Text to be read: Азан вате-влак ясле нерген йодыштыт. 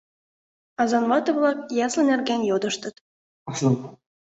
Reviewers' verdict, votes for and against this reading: rejected, 1, 2